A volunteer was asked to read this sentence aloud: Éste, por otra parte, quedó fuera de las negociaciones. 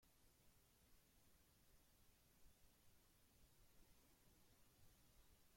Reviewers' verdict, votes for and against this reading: rejected, 0, 2